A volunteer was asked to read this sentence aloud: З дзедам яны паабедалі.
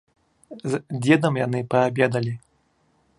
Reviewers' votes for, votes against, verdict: 2, 0, accepted